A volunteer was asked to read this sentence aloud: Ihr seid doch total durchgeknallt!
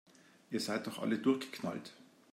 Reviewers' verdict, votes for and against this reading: rejected, 0, 2